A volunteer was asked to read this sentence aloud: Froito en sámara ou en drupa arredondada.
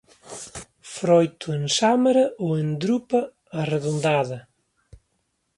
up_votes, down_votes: 2, 1